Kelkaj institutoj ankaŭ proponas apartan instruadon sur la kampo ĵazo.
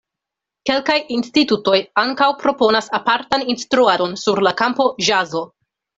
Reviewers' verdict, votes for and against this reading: accepted, 2, 0